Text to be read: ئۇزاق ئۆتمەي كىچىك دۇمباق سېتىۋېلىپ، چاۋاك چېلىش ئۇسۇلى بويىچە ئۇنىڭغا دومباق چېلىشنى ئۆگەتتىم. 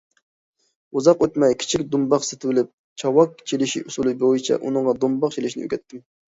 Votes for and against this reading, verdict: 2, 0, accepted